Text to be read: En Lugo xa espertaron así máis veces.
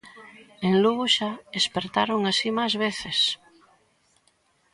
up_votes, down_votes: 1, 2